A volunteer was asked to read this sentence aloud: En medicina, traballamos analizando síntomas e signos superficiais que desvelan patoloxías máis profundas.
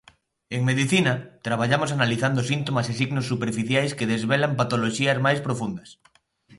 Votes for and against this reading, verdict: 2, 0, accepted